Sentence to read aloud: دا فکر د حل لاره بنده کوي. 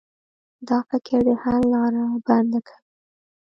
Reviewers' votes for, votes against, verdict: 1, 2, rejected